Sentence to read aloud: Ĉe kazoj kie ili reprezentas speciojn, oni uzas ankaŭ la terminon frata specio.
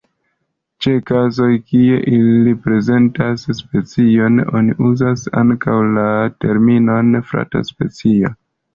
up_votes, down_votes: 2, 0